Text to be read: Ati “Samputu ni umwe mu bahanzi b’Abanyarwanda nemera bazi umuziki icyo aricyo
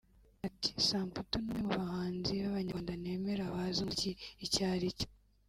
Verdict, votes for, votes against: rejected, 1, 2